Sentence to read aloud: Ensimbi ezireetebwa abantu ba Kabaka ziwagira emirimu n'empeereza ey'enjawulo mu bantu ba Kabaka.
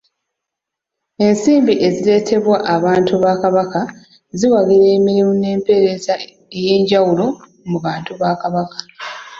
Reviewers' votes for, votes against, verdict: 2, 0, accepted